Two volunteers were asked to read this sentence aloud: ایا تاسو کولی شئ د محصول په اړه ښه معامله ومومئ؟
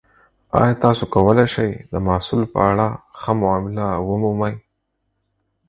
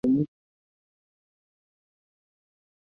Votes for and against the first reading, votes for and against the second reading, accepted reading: 4, 0, 0, 4, first